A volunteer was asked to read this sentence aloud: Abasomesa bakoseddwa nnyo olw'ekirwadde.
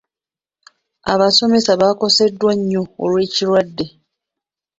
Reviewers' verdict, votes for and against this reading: rejected, 0, 2